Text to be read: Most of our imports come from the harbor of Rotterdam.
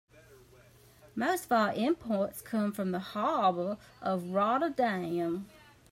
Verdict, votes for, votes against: accepted, 2, 0